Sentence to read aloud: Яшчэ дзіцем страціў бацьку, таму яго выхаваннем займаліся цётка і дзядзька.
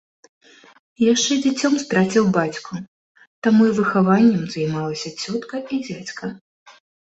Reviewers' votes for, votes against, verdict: 0, 2, rejected